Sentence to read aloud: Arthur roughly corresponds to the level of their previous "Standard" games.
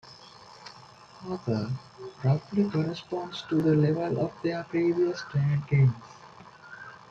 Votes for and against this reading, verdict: 0, 2, rejected